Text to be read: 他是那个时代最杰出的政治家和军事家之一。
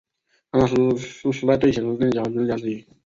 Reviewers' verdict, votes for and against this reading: rejected, 0, 2